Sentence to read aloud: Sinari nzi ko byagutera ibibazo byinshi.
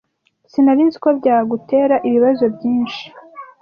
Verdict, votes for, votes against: accepted, 2, 0